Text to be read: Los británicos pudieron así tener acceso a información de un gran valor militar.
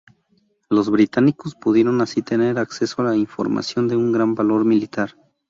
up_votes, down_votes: 0, 2